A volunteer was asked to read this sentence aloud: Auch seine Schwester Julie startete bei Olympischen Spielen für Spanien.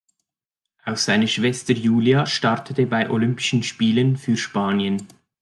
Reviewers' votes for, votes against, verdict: 2, 1, accepted